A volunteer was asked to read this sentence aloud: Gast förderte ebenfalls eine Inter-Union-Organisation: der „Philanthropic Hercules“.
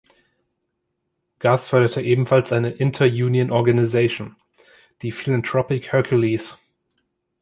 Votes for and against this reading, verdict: 0, 2, rejected